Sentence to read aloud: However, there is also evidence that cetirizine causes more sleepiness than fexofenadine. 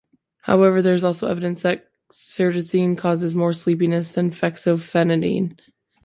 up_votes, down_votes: 0, 2